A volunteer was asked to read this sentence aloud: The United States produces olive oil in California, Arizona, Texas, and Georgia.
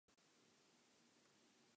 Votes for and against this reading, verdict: 0, 2, rejected